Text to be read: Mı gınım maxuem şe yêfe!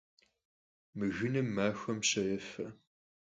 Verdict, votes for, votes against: rejected, 0, 4